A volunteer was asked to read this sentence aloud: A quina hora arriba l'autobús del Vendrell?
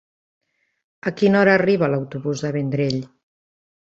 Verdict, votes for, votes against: rejected, 2, 3